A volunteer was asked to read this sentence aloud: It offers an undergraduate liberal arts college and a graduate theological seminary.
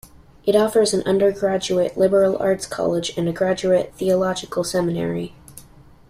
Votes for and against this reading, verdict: 2, 0, accepted